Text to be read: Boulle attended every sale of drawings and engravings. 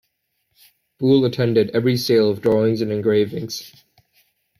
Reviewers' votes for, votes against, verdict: 2, 0, accepted